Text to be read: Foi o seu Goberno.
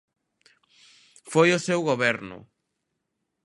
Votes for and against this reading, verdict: 2, 0, accepted